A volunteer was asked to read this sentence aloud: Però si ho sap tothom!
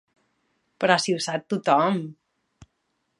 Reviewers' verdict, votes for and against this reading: accepted, 3, 0